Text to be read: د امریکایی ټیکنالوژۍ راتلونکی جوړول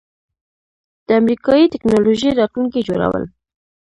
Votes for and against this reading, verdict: 1, 2, rejected